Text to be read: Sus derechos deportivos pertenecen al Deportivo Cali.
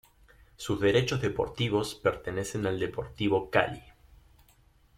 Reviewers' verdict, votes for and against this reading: accepted, 2, 1